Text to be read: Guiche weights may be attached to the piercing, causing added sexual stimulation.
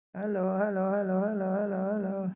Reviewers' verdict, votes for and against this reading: rejected, 0, 2